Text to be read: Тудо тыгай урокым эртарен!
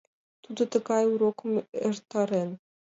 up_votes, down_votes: 1, 2